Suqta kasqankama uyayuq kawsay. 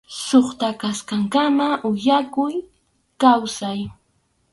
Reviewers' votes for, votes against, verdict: 0, 2, rejected